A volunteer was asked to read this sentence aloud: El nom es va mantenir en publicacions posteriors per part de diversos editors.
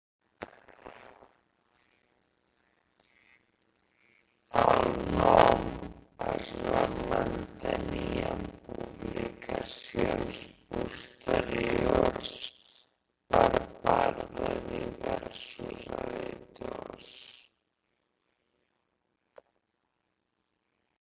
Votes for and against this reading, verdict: 0, 3, rejected